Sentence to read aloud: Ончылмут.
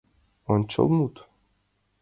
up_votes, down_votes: 2, 0